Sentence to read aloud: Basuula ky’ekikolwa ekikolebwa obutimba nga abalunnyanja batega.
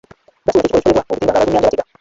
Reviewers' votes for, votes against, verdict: 0, 2, rejected